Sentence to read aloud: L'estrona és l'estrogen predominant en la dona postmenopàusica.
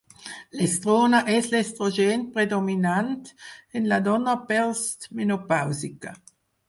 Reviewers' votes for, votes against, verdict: 0, 4, rejected